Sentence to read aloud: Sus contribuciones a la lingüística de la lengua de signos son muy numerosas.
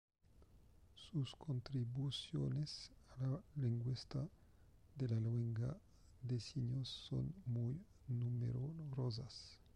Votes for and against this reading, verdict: 1, 2, rejected